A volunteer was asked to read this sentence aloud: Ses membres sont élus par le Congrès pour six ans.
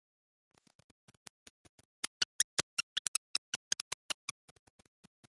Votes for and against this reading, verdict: 0, 2, rejected